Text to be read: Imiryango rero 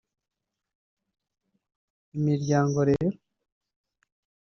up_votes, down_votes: 1, 2